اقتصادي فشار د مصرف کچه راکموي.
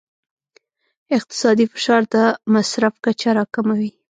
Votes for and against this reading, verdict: 2, 0, accepted